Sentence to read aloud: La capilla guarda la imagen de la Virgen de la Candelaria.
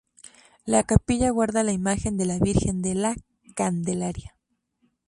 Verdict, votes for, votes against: rejected, 2, 2